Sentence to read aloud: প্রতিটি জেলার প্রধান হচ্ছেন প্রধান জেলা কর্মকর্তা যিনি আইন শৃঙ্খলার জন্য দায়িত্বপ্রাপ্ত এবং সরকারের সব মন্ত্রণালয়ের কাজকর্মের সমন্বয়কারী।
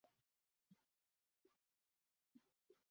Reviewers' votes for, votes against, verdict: 0, 2, rejected